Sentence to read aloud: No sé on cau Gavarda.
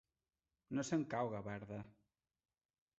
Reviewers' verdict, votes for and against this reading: rejected, 0, 2